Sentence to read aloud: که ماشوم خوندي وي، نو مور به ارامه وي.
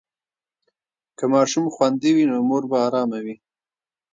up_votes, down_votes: 1, 2